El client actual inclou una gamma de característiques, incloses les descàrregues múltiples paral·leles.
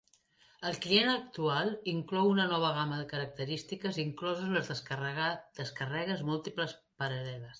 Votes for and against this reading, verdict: 0, 2, rejected